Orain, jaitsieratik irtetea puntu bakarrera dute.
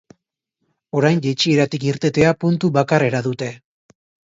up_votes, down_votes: 4, 0